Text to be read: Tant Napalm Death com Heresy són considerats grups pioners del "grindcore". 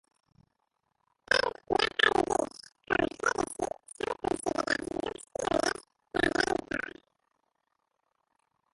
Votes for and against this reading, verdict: 0, 2, rejected